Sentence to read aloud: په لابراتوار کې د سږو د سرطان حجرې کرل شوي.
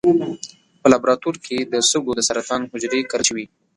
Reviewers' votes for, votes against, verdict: 2, 1, accepted